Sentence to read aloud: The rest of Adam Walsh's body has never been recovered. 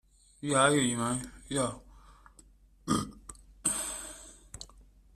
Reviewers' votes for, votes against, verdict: 0, 2, rejected